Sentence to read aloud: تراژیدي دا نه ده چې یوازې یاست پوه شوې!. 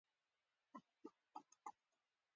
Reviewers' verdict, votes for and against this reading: rejected, 0, 2